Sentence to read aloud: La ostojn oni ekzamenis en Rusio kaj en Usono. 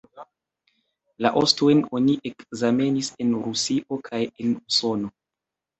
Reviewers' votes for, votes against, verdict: 2, 1, accepted